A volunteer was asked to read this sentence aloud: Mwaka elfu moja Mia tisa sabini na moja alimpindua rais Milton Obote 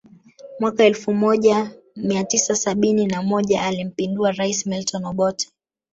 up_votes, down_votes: 4, 0